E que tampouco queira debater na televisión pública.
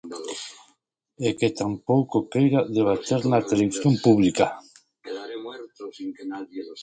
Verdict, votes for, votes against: rejected, 0, 2